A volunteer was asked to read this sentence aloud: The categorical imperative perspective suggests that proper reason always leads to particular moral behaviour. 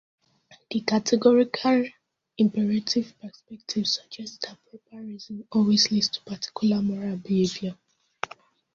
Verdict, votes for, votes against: rejected, 0, 2